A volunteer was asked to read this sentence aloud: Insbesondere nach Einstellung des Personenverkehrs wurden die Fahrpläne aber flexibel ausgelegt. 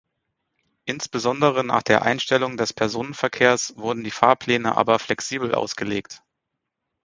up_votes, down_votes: 2, 4